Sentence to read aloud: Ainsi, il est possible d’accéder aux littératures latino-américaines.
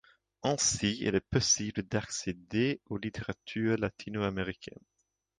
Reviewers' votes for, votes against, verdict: 3, 1, accepted